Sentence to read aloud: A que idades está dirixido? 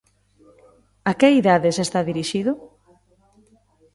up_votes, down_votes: 2, 0